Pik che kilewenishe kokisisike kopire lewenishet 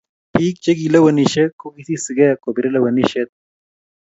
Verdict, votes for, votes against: accepted, 3, 0